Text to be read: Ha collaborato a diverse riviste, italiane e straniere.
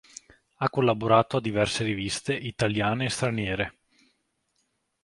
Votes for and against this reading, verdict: 2, 0, accepted